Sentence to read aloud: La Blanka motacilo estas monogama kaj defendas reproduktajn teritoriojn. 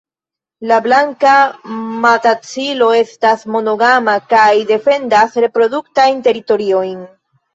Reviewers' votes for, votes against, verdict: 0, 4, rejected